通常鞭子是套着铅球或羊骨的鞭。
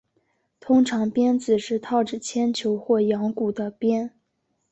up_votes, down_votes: 3, 0